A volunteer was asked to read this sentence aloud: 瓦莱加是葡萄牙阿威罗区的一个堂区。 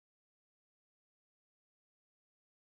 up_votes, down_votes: 0, 2